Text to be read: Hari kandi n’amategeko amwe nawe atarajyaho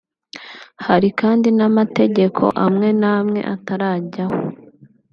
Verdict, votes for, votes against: accepted, 2, 0